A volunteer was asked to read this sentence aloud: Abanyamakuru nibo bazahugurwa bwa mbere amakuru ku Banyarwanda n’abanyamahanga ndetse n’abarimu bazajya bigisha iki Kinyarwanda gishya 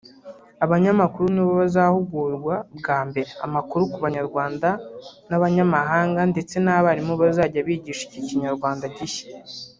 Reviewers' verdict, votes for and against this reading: rejected, 0, 2